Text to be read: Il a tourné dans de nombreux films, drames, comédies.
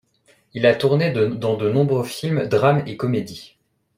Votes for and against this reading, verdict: 0, 2, rejected